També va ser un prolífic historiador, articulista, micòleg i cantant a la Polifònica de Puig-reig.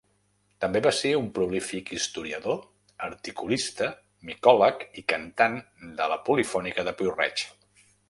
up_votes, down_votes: 0, 2